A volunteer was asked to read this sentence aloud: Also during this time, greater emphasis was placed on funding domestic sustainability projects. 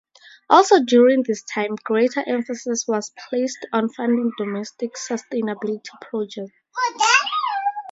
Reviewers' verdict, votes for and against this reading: accepted, 4, 0